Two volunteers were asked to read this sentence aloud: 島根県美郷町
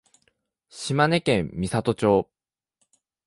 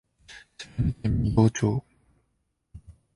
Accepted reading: first